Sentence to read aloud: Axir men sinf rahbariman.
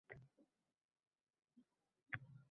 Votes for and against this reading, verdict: 0, 2, rejected